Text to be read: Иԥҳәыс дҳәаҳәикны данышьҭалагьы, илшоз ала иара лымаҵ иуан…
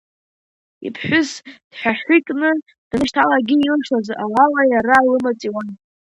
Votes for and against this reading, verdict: 3, 2, accepted